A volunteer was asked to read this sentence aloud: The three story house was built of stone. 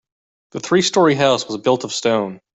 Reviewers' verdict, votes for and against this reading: accepted, 2, 0